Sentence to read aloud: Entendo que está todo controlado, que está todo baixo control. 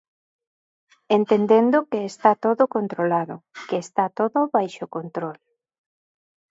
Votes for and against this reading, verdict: 0, 2, rejected